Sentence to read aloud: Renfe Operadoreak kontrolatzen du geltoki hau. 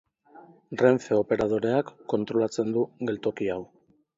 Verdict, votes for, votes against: accepted, 2, 0